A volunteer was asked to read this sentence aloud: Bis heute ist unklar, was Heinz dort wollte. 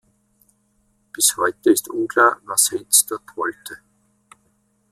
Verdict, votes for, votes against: rejected, 1, 2